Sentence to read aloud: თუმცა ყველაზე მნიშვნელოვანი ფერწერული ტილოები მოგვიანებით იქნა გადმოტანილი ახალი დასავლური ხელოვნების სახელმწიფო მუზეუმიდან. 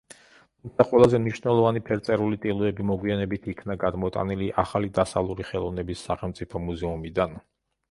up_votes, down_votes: 0, 2